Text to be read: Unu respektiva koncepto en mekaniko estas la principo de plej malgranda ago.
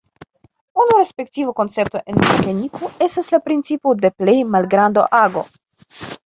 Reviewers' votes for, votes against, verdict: 0, 2, rejected